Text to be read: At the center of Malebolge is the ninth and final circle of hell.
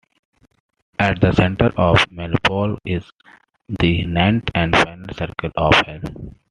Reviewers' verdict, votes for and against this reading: accepted, 2, 0